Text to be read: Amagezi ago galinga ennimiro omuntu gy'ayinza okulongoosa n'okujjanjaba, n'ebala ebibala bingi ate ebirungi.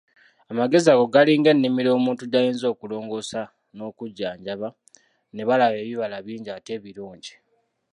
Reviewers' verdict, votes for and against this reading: rejected, 1, 2